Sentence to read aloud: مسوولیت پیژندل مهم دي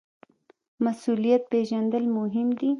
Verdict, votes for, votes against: accepted, 2, 0